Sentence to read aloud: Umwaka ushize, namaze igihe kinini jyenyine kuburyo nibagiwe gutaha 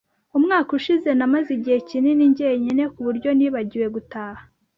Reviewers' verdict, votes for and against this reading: accepted, 2, 0